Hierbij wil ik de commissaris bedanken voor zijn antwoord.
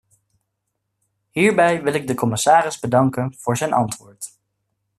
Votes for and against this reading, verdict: 1, 2, rejected